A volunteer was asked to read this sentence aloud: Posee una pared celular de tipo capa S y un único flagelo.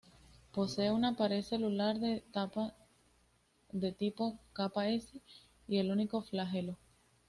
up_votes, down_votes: 1, 2